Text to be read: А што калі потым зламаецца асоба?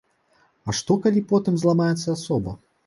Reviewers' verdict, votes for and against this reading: accepted, 2, 1